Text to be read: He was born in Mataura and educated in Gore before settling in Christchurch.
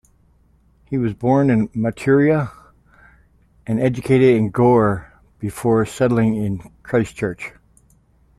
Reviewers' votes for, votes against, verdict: 0, 2, rejected